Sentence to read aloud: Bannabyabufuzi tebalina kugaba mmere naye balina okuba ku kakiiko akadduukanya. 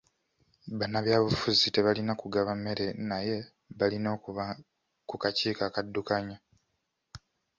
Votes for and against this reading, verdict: 2, 0, accepted